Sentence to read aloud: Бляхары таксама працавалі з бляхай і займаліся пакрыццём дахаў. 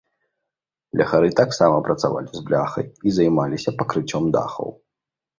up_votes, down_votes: 2, 0